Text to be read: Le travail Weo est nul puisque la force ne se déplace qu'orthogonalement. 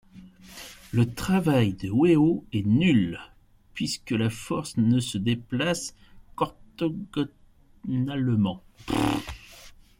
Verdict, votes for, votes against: rejected, 0, 2